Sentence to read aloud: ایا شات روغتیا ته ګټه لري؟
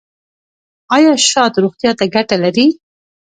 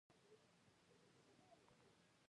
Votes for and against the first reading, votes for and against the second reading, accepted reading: 2, 0, 0, 2, first